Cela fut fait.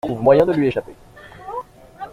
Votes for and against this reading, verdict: 0, 2, rejected